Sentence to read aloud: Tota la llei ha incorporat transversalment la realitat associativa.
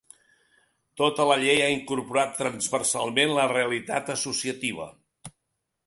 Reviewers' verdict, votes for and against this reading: accepted, 5, 0